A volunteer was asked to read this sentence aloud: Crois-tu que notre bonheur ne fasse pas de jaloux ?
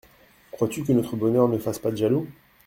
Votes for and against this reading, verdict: 2, 0, accepted